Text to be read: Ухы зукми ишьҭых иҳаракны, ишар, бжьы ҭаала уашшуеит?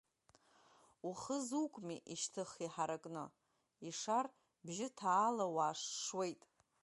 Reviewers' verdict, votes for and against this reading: accepted, 3, 1